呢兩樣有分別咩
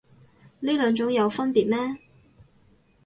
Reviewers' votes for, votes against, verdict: 0, 4, rejected